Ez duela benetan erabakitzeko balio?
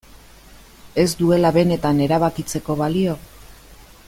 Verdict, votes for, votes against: accepted, 2, 0